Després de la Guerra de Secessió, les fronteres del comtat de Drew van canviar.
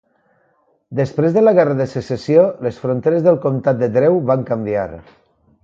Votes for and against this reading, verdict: 2, 0, accepted